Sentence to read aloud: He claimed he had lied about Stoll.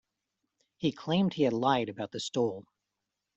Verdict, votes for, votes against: rejected, 0, 2